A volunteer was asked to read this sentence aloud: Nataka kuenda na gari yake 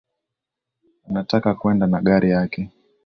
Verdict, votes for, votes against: accepted, 2, 0